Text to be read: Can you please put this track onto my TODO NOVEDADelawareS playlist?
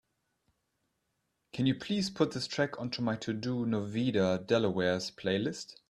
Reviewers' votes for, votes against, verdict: 2, 0, accepted